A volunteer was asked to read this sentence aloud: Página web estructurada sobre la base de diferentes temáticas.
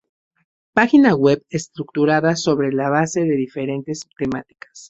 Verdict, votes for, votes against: accepted, 2, 0